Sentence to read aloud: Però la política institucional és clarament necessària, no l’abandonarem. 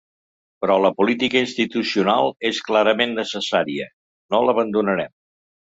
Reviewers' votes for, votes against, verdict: 3, 0, accepted